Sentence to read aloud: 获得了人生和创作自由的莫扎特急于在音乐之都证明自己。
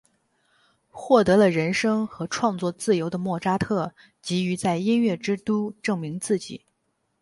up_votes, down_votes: 8, 0